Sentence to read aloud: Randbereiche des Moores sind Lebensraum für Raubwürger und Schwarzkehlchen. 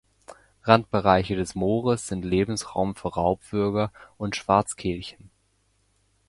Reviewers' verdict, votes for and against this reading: accepted, 2, 0